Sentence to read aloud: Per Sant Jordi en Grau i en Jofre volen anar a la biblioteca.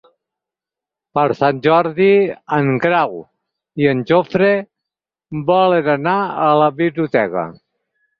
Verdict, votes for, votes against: accepted, 6, 0